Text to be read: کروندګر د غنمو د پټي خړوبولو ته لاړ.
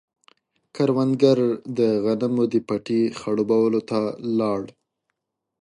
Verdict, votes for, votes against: accepted, 2, 0